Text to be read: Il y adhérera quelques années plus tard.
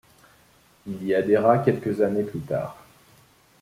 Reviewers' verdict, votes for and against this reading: accepted, 2, 0